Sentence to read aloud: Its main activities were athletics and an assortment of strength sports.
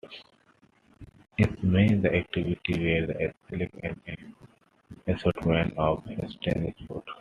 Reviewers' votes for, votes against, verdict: 0, 2, rejected